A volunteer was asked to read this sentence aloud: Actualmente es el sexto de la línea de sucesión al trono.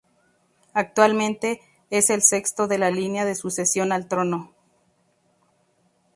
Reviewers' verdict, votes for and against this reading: accepted, 2, 0